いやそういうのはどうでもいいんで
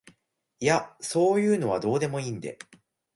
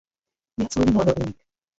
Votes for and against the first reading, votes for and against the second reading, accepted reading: 2, 0, 0, 2, first